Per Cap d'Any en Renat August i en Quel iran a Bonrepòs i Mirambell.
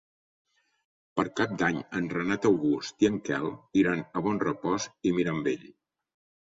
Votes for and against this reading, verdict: 4, 0, accepted